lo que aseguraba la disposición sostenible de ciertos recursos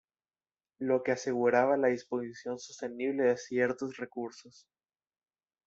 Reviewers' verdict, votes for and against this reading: accepted, 2, 0